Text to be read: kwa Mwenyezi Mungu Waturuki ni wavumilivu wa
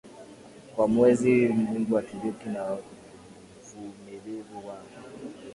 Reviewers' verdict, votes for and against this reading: rejected, 2, 5